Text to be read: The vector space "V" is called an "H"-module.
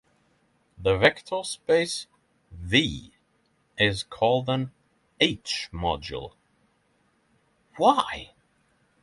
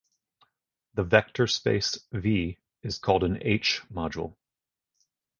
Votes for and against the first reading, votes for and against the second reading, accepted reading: 0, 6, 4, 0, second